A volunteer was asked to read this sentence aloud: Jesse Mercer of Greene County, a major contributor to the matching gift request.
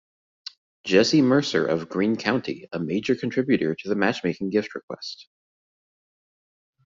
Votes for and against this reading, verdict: 0, 2, rejected